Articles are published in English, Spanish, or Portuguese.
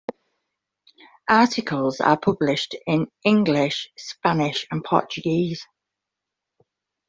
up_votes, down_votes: 2, 0